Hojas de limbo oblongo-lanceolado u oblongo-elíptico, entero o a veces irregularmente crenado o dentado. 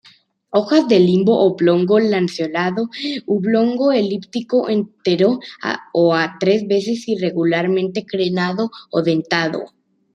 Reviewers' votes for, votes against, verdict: 1, 2, rejected